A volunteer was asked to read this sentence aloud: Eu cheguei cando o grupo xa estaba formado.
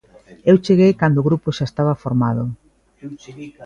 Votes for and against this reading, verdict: 2, 1, accepted